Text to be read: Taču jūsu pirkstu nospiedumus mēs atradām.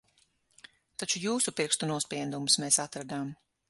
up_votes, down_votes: 6, 0